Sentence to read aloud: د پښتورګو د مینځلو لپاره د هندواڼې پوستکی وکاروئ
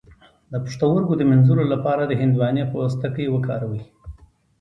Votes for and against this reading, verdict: 2, 1, accepted